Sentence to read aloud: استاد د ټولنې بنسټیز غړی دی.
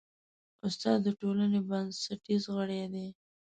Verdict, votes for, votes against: accepted, 2, 0